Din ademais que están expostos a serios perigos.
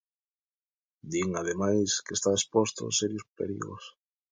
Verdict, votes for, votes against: rejected, 1, 2